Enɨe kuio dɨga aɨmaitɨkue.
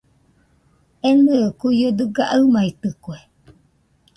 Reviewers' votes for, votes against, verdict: 2, 0, accepted